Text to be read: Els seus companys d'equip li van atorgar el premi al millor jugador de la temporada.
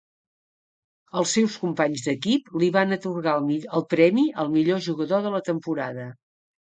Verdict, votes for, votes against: rejected, 1, 2